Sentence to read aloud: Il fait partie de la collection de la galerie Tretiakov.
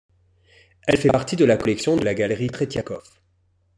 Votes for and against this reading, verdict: 1, 2, rejected